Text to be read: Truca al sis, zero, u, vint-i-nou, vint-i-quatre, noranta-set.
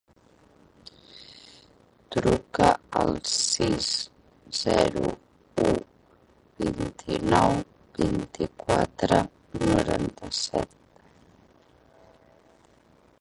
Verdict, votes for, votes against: rejected, 0, 2